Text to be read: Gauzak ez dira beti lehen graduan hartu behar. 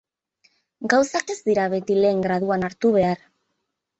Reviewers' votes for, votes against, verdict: 2, 2, rejected